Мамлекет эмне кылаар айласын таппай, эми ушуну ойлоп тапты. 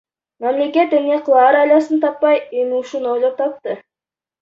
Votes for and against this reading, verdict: 0, 2, rejected